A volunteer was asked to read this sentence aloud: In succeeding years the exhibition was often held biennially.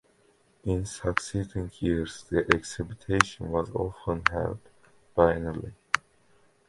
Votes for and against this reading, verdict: 2, 1, accepted